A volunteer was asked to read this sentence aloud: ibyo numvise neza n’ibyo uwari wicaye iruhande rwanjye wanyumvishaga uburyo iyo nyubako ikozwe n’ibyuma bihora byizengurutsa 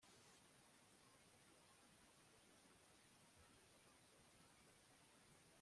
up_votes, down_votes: 0, 2